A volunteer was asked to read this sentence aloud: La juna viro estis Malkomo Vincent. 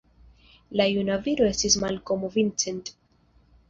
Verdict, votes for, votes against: rejected, 0, 2